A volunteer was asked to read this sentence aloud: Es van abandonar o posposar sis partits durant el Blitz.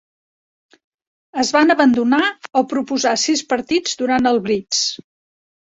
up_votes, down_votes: 1, 2